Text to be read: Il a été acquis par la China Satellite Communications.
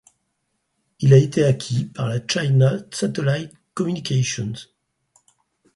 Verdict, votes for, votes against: rejected, 0, 4